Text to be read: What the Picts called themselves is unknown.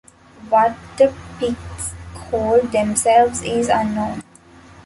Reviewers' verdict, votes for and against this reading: accepted, 2, 0